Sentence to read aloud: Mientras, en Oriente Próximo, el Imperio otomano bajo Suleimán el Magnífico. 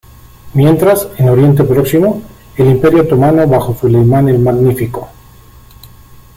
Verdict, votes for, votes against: accepted, 2, 1